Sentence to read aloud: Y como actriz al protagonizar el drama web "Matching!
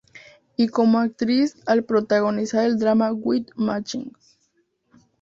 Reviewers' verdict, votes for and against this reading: accepted, 4, 2